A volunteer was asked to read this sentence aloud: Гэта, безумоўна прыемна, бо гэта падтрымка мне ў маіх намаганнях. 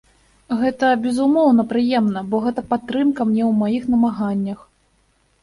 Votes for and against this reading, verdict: 2, 0, accepted